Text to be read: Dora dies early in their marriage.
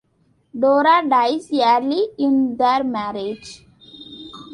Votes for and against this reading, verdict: 2, 1, accepted